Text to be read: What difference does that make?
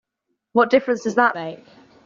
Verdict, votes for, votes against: rejected, 1, 2